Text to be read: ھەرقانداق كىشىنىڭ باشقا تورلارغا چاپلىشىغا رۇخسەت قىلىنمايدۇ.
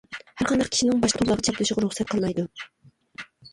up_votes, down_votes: 0, 2